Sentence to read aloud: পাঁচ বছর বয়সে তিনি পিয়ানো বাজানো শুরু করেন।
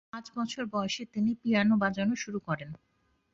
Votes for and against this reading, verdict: 2, 0, accepted